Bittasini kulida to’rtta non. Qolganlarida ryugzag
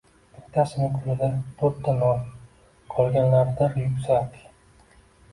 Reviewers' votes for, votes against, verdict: 1, 2, rejected